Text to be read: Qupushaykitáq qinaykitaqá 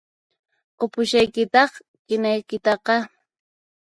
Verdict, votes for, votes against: accepted, 4, 2